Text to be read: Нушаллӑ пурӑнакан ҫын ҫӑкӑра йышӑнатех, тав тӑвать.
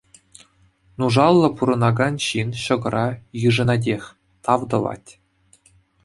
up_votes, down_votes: 2, 0